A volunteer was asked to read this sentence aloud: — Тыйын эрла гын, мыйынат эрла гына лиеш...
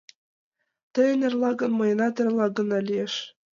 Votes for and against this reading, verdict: 2, 0, accepted